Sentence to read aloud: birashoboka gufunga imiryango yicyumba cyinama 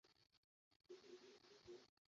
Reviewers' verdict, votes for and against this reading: rejected, 0, 2